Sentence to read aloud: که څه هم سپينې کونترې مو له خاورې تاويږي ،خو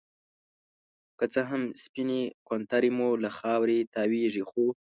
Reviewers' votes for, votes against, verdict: 2, 0, accepted